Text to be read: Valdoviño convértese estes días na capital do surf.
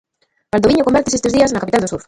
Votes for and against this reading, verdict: 0, 2, rejected